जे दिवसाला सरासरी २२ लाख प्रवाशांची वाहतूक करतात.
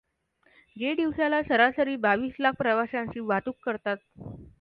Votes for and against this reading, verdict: 0, 2, rejected